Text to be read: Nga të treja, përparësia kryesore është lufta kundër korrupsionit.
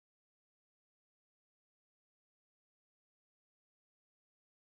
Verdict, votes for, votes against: rejected, 0, 2